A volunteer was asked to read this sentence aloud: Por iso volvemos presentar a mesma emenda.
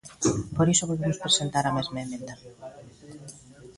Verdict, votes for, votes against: accepted, 2, 1